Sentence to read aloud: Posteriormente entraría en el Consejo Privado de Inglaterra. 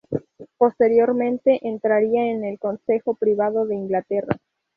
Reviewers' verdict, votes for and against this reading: rejected, 0, 2